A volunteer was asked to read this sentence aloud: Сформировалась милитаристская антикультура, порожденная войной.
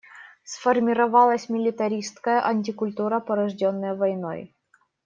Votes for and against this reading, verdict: 2, 0, accepted